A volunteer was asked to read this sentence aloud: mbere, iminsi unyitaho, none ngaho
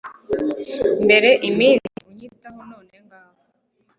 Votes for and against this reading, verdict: 1, 2, rejected